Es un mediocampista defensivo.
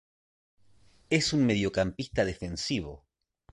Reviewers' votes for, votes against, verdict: 2, 0, accepted